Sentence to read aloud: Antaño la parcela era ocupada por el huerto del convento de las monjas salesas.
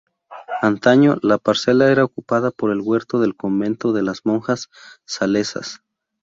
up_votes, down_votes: 4, 0